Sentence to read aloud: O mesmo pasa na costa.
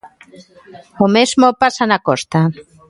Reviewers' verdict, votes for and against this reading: accepted, 2, 0